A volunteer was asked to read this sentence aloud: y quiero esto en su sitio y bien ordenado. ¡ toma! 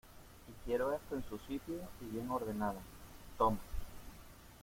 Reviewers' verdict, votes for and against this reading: rejected, 0, 2